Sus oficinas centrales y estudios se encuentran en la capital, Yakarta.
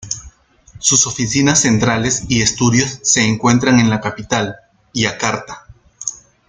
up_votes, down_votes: 2, 0